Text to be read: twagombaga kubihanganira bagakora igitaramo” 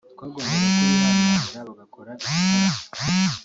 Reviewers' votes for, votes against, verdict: 1, 3, rejected